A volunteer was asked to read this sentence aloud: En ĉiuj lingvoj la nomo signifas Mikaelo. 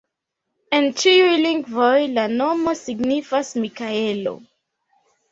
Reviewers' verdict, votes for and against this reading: accepted, 2, 0